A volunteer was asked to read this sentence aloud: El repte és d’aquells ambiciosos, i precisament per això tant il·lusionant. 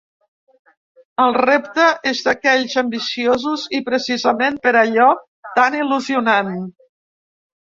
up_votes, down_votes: 0, 2